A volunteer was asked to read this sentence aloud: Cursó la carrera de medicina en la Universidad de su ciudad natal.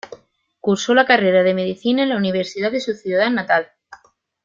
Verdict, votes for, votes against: accepted, 2, 0